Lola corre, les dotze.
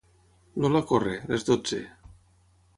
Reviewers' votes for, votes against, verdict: 0, 3, rejected